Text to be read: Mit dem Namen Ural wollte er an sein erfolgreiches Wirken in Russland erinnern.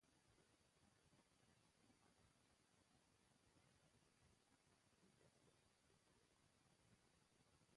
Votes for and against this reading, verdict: 0, 2, rejected